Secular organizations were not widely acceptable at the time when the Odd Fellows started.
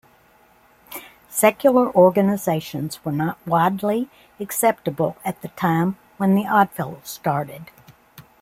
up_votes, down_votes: 2, 0